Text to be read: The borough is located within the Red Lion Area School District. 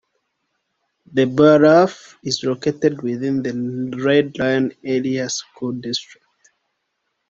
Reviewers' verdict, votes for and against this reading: rejected, 0, 2